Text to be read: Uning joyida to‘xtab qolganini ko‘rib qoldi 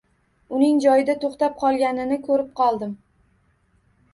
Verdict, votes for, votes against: accepted, 2, 1